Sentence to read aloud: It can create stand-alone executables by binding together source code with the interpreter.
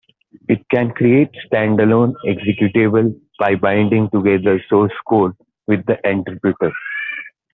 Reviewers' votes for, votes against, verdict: 2, 0, accepted